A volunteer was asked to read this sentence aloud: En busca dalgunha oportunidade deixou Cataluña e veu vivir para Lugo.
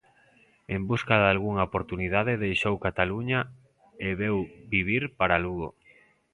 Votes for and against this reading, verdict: 2, 0, accepted